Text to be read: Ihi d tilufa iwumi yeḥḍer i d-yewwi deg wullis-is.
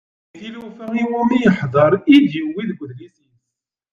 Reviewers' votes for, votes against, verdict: 1, 2, rejected